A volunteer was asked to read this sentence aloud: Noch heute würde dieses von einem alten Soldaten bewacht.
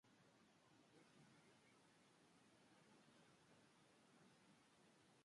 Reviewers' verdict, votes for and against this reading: rejected, 0, 2